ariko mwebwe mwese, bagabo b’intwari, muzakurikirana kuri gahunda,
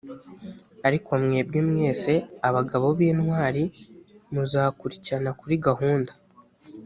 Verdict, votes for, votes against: rejected, 1, 2